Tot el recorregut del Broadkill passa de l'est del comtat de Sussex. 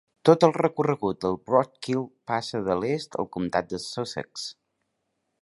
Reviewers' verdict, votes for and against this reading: rejected, 1, 2